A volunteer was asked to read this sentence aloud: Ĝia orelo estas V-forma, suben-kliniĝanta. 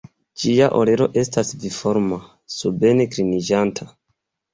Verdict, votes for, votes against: accepted, 2, 0